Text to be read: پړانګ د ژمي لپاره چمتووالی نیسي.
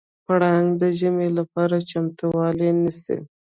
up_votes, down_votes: 2, 0